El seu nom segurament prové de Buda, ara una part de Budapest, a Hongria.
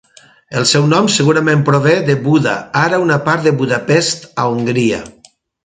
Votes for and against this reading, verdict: 2, 0, accepted